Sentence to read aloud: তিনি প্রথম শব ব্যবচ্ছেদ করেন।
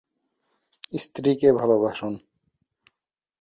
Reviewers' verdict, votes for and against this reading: rejected, 0, 2